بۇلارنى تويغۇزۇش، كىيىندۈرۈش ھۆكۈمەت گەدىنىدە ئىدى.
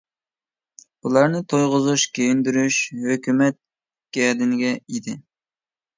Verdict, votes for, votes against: rejected, 0, 2